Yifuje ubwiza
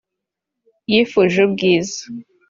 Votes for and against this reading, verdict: 3, 0, accepted